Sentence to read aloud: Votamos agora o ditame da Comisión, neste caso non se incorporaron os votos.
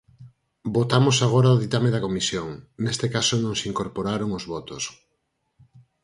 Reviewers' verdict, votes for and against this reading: accepted, 4, 0